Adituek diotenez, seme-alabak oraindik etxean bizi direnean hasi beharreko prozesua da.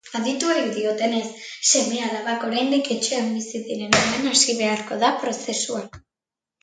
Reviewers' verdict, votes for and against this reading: rejected, 1, 3